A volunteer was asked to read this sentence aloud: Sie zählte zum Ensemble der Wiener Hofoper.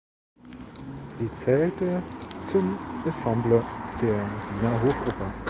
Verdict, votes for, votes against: rejected, 0, 2